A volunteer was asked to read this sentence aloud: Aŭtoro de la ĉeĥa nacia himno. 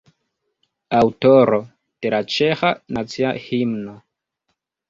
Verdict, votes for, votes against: accepted, 2, 1